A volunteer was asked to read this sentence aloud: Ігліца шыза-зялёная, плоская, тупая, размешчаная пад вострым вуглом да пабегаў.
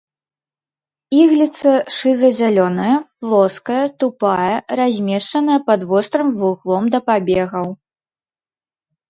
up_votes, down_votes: 1, 2